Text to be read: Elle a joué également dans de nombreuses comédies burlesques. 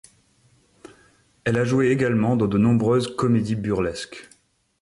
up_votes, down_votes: 2, 0